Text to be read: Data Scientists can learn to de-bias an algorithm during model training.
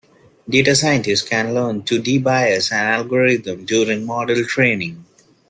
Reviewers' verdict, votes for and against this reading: accepted, 2, 0